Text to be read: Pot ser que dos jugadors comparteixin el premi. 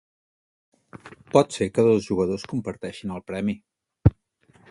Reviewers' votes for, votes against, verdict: 2, 0, accepted